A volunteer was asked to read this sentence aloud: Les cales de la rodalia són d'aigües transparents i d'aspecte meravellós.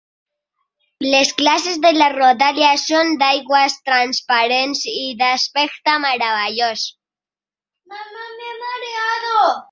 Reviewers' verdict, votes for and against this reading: rejected, 2, 3